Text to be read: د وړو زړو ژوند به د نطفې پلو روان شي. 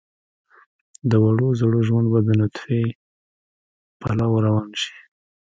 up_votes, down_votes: 0, 3